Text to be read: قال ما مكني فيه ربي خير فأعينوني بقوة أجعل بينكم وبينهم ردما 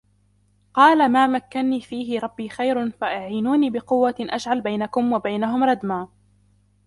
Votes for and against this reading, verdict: 3, 1, accepted